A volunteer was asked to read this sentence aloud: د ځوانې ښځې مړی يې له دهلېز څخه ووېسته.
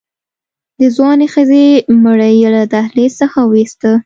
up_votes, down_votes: 2, 0